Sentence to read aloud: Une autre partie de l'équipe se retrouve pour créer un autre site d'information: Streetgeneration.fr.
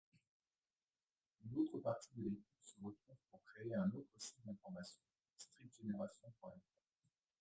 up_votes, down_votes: 1, 2